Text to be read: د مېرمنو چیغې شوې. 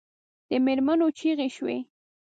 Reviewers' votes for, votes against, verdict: 1, 2, rejected